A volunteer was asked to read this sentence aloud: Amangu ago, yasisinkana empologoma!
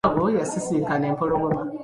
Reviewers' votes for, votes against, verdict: 0, 2, rejected